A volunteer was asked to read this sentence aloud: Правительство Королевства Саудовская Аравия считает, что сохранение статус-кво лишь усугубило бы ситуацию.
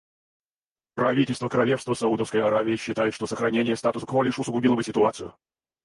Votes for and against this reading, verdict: 0, 4, rejected